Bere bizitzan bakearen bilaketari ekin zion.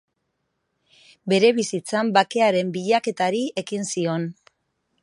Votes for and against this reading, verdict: 2, 0, accepted